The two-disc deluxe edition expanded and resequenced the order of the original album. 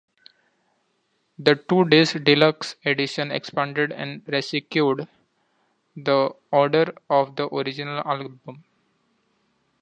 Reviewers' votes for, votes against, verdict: 0, 2, rejected